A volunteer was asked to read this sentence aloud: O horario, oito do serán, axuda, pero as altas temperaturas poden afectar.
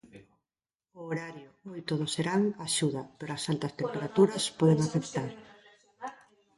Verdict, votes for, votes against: rejected, 0, 2